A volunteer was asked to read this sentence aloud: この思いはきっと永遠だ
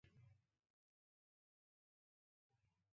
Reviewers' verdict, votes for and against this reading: rejected, 1, 3